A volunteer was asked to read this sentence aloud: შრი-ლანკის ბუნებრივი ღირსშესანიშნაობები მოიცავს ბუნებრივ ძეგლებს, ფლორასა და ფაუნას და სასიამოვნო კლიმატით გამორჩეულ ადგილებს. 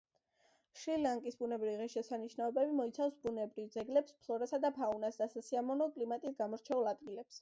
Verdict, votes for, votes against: accepted, 2, 0